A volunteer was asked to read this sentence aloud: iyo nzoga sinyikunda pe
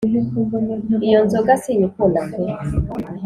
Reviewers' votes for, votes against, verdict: 3, 0, accepted